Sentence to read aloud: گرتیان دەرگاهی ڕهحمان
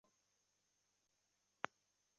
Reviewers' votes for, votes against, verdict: 0, 2, rejected